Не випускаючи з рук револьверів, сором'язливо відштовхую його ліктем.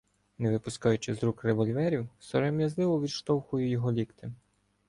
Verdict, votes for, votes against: accepted, 2, 0